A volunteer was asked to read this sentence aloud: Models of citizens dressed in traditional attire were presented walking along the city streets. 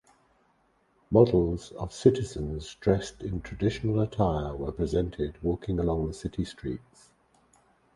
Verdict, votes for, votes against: rejected, 2, 2